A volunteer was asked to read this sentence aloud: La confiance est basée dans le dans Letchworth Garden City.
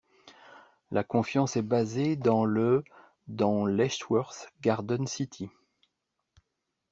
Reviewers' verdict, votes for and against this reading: rejected, 1, 2